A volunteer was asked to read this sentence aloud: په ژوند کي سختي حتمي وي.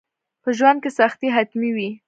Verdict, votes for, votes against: rejected, 0, 2